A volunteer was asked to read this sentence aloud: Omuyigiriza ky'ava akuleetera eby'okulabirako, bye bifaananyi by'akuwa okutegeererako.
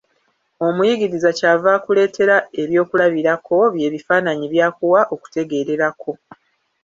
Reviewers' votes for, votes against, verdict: 0, 2, rejected